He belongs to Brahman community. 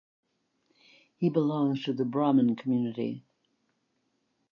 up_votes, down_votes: 3, 2